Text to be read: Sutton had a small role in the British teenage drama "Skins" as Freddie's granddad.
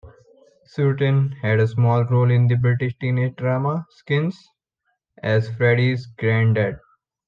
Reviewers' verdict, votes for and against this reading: rejected, 0, 2